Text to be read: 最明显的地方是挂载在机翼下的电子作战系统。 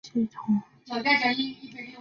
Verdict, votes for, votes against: rejected, 2, 7